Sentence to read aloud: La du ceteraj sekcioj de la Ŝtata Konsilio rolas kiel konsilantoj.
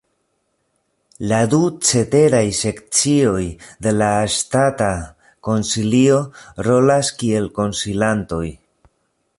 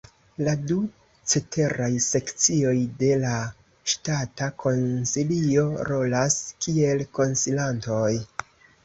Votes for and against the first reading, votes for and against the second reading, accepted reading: 1, 2, 2, 0, second